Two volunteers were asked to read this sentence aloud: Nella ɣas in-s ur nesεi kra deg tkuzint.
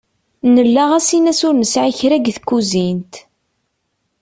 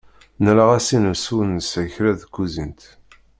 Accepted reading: first